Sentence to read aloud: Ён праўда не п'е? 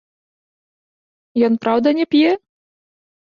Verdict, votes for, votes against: accepted, 2, 0